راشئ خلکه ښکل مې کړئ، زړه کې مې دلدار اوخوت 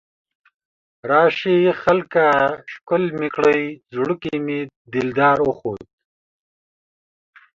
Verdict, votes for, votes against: accepted, 2, 0